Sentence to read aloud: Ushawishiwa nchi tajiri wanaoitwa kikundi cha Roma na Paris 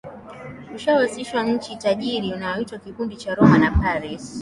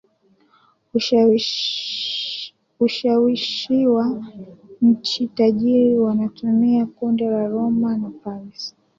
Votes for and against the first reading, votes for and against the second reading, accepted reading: 2, 0, 0, 2, first